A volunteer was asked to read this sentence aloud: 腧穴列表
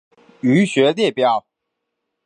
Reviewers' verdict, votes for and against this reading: accepted, 4, 1